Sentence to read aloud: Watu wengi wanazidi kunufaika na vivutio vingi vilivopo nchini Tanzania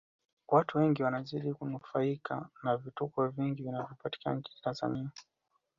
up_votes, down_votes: 1, 2